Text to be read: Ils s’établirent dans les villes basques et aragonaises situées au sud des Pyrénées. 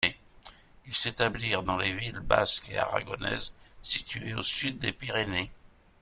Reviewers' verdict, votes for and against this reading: accepted, 2, 1